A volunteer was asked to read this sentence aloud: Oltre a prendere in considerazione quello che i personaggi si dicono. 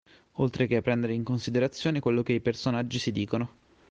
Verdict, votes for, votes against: rejected, 1, 2